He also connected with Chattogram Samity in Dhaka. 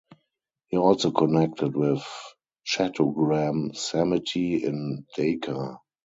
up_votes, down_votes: 2, 4